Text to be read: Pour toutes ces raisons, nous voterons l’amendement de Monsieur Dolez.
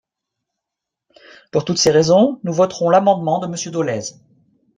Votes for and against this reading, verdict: 3, 0, accepted